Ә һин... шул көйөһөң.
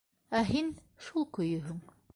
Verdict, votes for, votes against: accepted, 2, 0